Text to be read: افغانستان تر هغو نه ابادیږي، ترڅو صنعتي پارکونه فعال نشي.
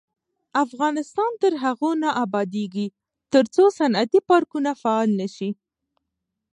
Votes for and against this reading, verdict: 2, 0, accepted